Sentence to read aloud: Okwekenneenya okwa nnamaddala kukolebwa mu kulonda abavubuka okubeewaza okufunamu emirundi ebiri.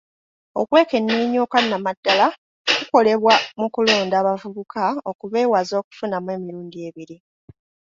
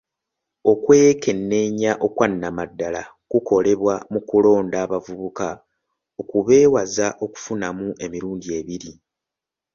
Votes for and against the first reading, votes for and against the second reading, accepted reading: 0, 2, 2, 0, second